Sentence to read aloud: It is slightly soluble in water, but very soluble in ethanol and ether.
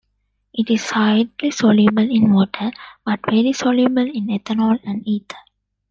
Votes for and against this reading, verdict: 1, 2, rejected